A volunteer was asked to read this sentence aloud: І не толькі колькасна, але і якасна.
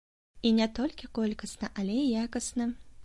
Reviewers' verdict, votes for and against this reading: accepted, 2, 0